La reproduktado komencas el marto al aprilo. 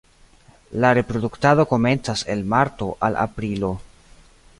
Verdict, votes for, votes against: accepted, 2, 0